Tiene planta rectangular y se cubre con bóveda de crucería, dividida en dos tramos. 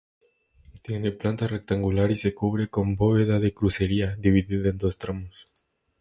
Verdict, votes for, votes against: accepted, 2, 0